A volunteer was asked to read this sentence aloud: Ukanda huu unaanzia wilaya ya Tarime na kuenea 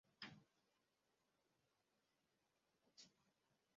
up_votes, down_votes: 0, 2